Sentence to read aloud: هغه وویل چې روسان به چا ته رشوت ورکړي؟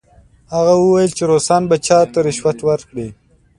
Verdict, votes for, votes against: accepted, 2, 0